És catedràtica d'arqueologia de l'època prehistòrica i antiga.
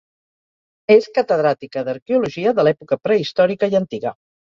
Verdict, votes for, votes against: rejected, 2, 2